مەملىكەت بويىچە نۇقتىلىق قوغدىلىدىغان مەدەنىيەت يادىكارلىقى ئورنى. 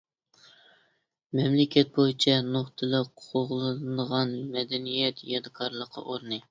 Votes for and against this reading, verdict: 0, 2, rejected